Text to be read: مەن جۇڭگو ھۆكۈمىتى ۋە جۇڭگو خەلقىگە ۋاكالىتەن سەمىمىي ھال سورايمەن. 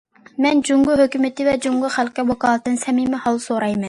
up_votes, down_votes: 2, 0